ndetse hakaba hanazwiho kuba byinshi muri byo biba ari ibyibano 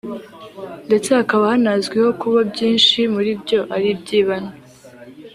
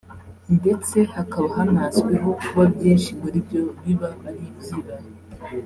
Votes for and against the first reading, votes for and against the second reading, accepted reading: 1, 3, 2, 0, second